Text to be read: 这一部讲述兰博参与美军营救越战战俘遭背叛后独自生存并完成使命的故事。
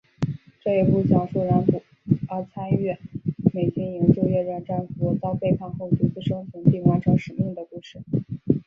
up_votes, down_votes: 0, 2